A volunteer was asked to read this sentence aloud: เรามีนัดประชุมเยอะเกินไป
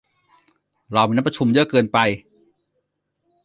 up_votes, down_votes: 1, 2